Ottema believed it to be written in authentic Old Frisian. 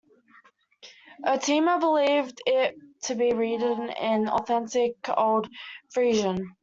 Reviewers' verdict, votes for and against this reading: rejected, 1, 2